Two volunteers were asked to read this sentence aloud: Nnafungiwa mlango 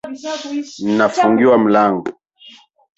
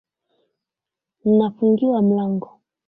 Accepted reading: second